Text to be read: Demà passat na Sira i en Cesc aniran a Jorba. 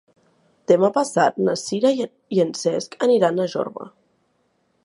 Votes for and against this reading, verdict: 0, 2, rejected